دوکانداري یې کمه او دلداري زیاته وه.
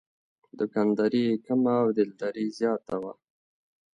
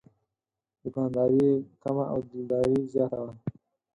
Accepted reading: first